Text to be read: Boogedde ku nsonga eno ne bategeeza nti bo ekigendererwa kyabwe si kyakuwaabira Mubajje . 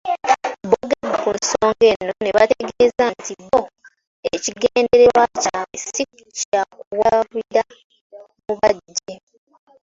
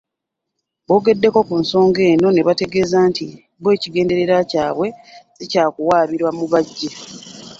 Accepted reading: first